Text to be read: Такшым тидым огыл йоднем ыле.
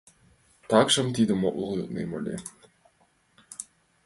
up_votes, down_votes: 2, 0